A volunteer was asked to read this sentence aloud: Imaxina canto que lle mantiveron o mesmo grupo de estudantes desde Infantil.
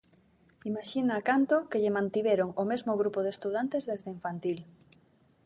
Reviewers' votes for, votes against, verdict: 2, 0, accepted